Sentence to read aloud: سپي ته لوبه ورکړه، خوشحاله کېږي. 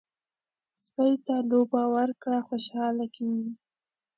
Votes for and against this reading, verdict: 2, 0, accepted